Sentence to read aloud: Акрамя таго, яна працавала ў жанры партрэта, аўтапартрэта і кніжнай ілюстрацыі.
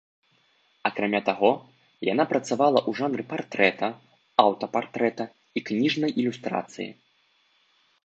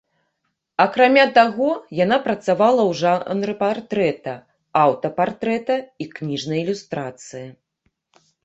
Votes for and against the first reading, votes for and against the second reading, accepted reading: 4, 0, 1, 2, first